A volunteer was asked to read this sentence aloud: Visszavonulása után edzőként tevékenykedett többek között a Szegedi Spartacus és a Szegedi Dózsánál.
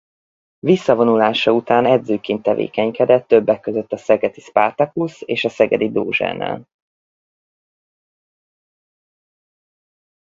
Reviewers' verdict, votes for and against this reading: accepted, 4, 0